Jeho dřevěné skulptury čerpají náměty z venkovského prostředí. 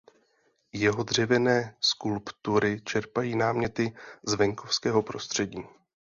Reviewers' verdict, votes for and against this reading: accepted, 2, 0